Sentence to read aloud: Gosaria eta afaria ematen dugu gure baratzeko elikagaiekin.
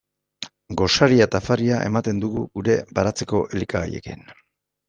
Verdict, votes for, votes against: accepted, 2, 0